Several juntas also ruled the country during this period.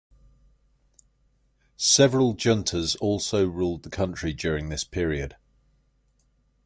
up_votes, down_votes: 1, 2